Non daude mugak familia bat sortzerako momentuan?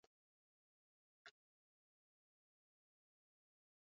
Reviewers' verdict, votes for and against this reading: rejected, 0, 6